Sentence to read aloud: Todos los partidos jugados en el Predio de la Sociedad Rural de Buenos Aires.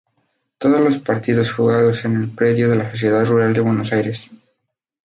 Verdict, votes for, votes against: rejected, 0, 4